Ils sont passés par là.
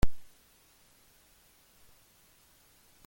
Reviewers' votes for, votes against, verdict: 0, 2, rejected